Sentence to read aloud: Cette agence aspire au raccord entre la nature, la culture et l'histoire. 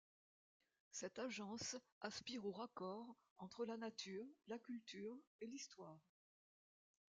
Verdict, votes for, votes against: rejected, 1, 2